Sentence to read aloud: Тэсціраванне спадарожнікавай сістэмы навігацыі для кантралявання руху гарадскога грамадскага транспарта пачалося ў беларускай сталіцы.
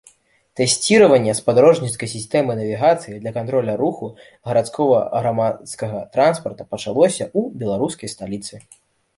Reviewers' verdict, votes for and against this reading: rejected, 0, 2